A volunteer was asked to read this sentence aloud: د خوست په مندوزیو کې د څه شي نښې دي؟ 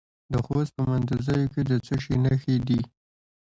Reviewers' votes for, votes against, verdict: 2, 0, accepted